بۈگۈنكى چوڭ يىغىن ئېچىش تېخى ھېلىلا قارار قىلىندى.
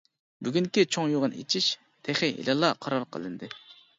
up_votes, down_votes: 2, 0